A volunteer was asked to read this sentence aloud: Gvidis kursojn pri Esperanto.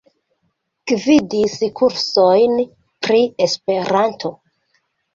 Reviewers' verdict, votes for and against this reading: accepted, 2, 0